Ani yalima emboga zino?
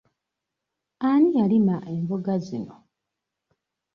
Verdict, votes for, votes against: accepted, 2, 0